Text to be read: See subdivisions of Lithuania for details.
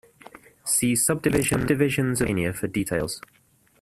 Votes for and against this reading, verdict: 0, 2, rejected